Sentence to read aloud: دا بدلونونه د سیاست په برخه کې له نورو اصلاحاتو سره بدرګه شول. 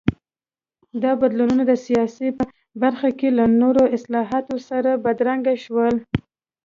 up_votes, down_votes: 0, 2